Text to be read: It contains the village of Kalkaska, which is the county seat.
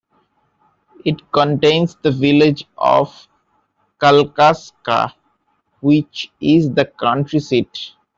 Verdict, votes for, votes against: rejected, 0, 2